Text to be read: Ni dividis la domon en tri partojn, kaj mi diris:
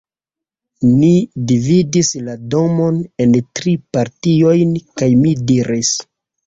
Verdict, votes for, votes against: rejected, 0, 2